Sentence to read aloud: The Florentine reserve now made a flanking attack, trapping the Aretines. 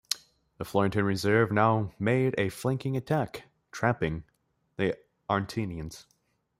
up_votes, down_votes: 0, 2